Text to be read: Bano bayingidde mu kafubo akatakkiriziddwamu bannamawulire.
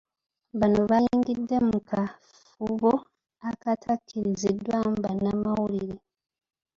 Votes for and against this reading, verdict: 0, 2, rejected